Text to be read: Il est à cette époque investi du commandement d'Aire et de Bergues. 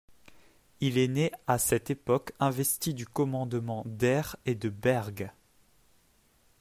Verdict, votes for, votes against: rejected, 1, 2